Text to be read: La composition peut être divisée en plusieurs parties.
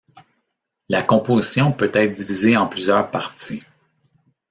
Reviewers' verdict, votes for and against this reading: accepted, 2, 0